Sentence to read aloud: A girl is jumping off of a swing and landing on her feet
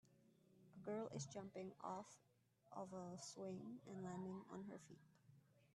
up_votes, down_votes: 2, 0